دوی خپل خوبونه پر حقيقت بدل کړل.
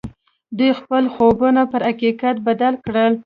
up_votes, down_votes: 1, 2